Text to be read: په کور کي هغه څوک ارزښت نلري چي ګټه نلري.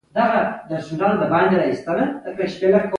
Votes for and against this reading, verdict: 2, 1, accepted